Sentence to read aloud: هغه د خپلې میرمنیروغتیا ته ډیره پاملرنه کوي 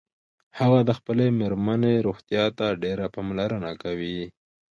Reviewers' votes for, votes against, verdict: 2, 0, accepted